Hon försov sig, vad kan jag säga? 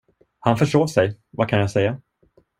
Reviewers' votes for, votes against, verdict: 1, 2, rejected